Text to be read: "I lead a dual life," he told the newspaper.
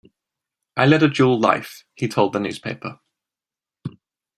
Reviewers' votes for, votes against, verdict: 1, 2, rejected